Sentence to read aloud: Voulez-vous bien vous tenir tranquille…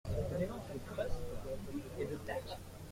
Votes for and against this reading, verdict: 0, 2, rejected